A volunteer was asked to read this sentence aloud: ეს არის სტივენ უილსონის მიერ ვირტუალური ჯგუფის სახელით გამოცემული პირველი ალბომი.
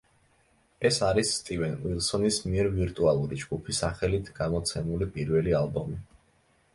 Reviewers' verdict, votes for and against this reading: accepted, 2, 0